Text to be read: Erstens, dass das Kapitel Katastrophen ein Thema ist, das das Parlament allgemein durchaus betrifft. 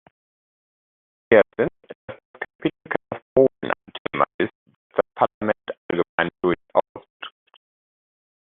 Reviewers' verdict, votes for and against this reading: rejected, 0, 2